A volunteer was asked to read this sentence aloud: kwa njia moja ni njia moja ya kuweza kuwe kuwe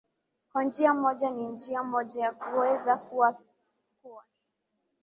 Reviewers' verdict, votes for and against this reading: rejected, 1, 2